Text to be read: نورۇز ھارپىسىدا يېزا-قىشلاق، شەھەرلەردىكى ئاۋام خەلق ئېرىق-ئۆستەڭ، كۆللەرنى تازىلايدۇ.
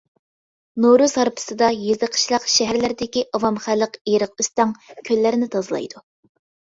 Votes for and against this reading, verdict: 2, 0, accepted